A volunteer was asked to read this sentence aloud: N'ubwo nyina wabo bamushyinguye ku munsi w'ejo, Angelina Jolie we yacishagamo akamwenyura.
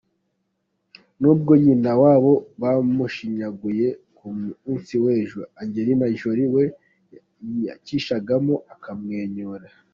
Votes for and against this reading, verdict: 0, 2, rejected